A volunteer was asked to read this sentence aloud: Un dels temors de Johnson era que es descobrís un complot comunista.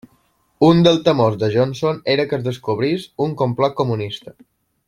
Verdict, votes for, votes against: rejected, 1, 2